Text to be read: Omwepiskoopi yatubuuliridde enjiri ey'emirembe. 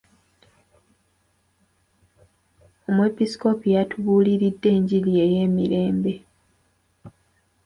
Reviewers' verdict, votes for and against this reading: accepted, 2, 0